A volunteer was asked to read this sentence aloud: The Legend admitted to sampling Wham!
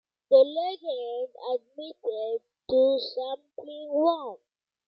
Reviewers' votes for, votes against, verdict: 2, 1, accepted